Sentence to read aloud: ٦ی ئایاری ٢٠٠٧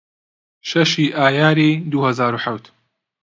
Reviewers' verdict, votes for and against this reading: rejected, 0, 2